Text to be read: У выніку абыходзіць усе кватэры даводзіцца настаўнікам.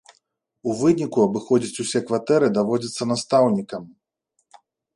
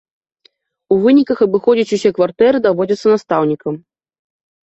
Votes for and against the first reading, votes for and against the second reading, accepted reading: 2, 0, 1, 3, first